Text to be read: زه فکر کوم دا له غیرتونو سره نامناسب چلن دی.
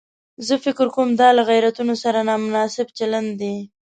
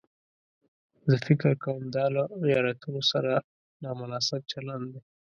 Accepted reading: first